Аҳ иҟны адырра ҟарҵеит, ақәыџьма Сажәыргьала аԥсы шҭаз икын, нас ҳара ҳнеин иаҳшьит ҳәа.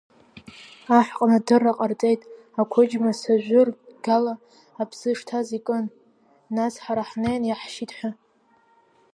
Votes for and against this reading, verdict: 0, 2, rejected